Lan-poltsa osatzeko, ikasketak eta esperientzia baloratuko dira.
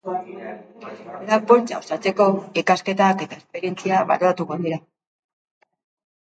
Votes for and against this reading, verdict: 0, 2, rejected